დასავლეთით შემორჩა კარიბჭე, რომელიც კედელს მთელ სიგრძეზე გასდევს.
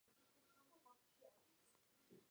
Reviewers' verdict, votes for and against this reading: rejected, 0, 2